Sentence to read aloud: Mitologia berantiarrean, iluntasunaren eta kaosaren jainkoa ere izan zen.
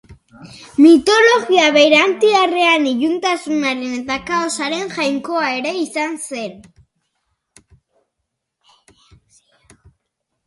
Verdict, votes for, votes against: accepted, 2, 0